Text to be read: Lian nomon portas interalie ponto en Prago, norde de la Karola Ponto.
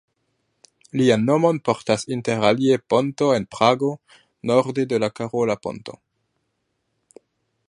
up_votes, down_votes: 1, 2